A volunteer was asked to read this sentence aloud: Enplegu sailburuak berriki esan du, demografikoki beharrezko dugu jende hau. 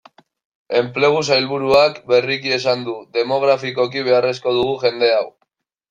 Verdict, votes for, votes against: accepted, 2, 0